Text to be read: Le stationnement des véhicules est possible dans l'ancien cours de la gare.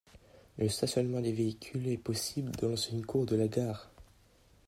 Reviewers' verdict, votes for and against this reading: rejected, 0, 2